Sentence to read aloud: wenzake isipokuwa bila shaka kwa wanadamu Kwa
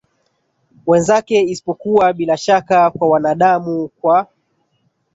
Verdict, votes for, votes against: rejected, 1, 2